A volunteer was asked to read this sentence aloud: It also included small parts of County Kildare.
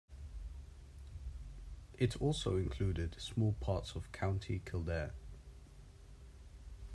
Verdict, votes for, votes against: accepted, 2, 1